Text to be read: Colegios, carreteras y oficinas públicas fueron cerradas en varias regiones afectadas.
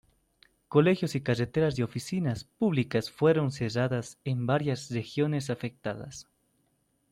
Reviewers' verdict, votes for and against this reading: rejected, 1, 2